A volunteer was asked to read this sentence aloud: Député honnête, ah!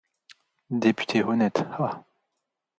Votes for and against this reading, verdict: 2, 0, accepted